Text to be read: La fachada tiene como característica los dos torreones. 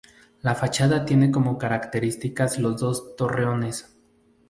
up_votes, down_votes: 0, 2